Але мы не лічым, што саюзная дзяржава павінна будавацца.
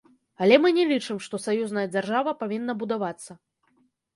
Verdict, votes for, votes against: accepted, 2, 0